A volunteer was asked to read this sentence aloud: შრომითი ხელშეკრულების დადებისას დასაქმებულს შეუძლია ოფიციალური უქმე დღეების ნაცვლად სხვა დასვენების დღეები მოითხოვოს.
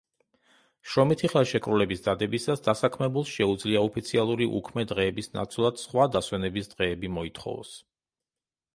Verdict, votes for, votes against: accepted, 2, 0